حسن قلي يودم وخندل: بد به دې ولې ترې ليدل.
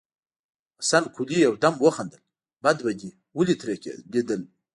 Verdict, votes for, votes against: rejected, 0, 2